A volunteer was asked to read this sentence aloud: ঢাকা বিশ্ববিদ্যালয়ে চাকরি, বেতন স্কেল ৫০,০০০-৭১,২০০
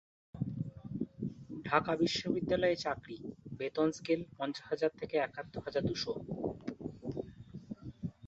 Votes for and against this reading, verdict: 0, 2, rejected